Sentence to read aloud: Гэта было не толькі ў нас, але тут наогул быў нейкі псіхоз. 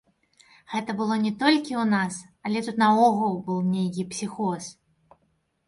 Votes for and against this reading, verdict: 2, 0, accepted